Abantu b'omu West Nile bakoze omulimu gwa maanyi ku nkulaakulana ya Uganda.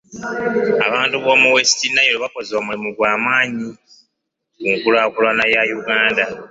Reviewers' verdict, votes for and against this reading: accepted, 2, 0